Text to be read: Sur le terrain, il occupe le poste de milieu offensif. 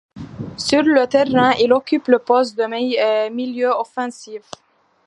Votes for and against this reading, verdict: 1, 2, rejected